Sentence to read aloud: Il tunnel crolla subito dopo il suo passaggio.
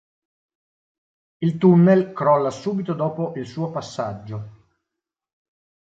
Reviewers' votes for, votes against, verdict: 2, 0, accepted